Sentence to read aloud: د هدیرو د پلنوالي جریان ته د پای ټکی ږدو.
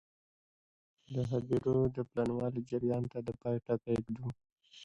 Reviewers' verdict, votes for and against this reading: rejected, 0, 2